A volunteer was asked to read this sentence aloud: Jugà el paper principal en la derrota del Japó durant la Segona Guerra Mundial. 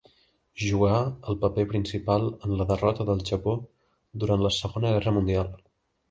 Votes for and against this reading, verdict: 2, 0, accepted